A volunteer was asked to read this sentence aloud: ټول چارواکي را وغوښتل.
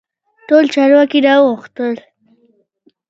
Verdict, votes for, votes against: accepted, 2, 1